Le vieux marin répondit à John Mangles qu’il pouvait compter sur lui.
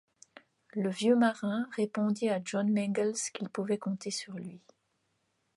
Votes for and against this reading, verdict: 2, 1, accepted